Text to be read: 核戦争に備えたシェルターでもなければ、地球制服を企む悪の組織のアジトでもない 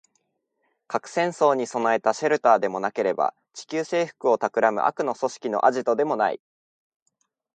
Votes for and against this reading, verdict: 2, 0, accepted